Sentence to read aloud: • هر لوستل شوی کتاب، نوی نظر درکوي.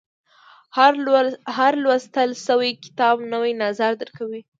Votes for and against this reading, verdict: 2, 0, accepted